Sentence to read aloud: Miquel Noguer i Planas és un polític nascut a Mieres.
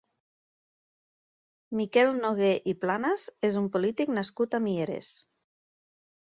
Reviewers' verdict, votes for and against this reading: accepted, 2, 0